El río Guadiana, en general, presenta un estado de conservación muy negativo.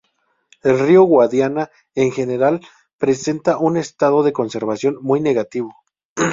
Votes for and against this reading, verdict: 2, 0, accepted